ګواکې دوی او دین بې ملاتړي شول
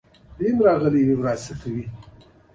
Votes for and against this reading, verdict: 0, 2, rejected